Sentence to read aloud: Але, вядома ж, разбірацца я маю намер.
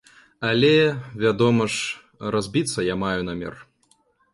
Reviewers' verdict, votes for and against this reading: rejected, 1, 2